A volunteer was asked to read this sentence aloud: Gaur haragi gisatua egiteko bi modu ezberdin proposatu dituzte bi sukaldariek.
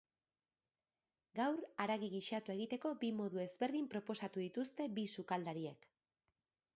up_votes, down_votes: 3, 1